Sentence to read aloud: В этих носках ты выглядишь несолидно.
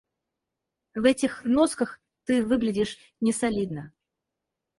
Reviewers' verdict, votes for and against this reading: rejected, 0, 4